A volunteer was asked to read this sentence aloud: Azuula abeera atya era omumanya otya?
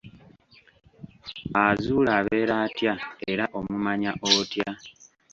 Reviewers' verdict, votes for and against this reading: rejected, 1, 2